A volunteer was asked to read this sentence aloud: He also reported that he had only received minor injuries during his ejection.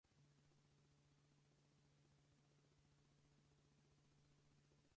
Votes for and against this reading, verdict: 0, 4, rejected